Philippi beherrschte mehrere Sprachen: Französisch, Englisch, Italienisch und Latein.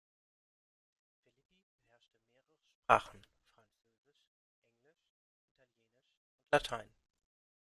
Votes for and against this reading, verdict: 1, 2, rejected